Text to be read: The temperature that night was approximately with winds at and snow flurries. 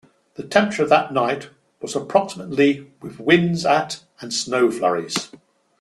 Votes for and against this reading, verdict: 2, 0, accepted